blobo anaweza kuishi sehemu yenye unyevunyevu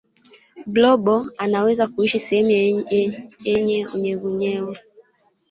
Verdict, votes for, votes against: rejected, 2, 4